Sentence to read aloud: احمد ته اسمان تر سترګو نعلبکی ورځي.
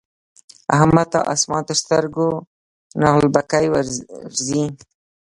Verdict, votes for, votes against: rejected, 1, 2